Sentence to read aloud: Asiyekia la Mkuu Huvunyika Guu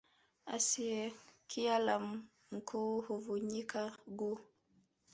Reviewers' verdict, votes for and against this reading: accepted, 4, 0